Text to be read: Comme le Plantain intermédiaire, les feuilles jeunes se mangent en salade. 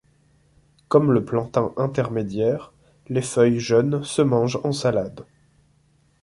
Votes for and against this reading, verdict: 2, 1, accepted